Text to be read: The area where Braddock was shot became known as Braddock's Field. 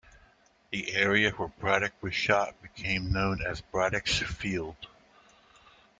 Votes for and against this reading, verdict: 2, 0, accepted